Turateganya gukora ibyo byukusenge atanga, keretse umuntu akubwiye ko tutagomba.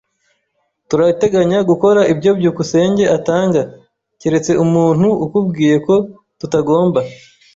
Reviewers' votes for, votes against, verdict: 1, 2, rejected